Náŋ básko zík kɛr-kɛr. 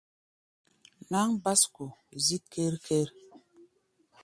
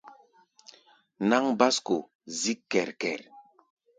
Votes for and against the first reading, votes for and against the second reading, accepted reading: 1, 2, 2, 0, second